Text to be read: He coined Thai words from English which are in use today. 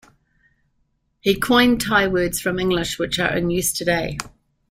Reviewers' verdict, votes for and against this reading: accepted, 3, 0